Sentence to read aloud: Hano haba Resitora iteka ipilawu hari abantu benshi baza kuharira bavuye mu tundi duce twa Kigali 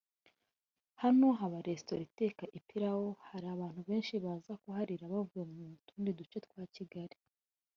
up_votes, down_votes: 2, 0